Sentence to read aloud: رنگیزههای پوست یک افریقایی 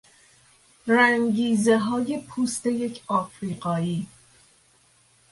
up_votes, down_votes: 3, 0